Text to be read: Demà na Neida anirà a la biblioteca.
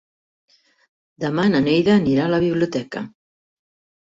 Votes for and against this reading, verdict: 4, 0, accepted